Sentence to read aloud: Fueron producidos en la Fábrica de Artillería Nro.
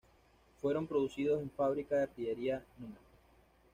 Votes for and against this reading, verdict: 2, 0, accepted